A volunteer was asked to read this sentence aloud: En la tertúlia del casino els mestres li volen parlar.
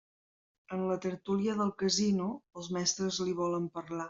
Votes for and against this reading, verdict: 3, 0, accepted